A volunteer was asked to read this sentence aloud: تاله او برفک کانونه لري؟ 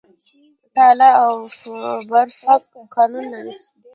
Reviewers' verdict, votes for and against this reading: accepted, 2, 0